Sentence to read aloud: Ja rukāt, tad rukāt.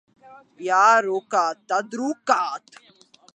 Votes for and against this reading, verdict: 1, 2, rejected